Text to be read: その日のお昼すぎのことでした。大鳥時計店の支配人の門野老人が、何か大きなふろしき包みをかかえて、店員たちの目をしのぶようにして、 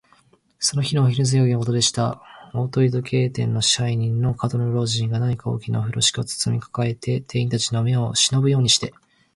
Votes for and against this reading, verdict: 2, 0, accepted